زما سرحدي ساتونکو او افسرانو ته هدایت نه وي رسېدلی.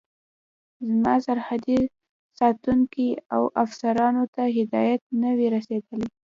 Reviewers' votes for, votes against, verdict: 2, 0, accepted